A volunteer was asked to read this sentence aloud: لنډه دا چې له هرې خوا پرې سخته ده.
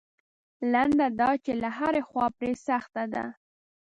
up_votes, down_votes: 2, 0